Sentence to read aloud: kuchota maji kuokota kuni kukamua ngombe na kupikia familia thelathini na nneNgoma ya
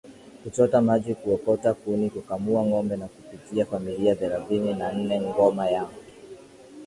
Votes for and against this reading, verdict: 8, 2, accepted